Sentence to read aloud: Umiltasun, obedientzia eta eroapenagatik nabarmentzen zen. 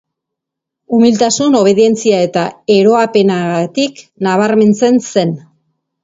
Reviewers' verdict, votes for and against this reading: accepted, 2, 0